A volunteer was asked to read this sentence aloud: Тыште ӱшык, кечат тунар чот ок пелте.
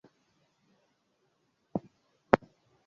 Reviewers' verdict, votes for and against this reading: rejected, 1, 2